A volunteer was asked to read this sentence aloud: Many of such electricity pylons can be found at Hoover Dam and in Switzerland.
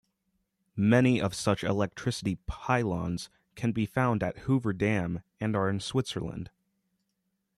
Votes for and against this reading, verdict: 1, 2, rejected